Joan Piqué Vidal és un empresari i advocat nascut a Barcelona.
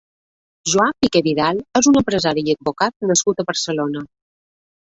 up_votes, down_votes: 1, 2